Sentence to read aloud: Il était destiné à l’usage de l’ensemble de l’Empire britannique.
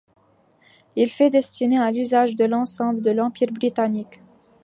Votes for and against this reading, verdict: 1, 2, rejected